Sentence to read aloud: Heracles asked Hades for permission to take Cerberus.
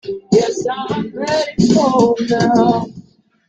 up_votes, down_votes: 0, 2